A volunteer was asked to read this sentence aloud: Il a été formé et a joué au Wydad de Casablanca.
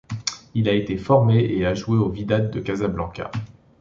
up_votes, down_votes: 2, 0